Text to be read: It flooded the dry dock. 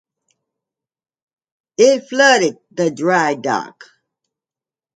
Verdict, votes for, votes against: accepted, 2, 0